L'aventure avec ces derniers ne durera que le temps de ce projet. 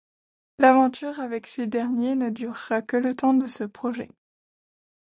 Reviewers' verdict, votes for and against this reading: accepted, 2, 0